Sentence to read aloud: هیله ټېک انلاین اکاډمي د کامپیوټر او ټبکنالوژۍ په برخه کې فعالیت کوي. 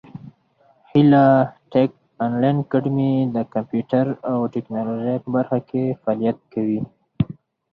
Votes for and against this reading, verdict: 4, 2, accepted